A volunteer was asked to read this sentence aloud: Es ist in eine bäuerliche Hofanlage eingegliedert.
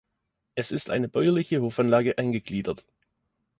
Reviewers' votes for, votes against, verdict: 1, 2, rejected